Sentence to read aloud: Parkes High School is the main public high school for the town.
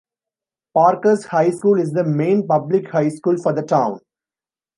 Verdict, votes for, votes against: accepted, 2, 0